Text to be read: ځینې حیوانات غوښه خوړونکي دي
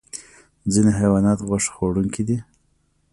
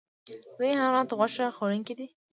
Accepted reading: first